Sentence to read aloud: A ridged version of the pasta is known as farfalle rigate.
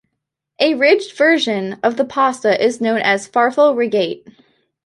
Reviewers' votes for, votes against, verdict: 1, 2, rejected